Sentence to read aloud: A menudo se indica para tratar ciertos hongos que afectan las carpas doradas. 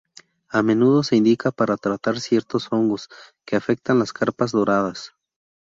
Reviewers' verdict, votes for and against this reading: accepted, 2, 0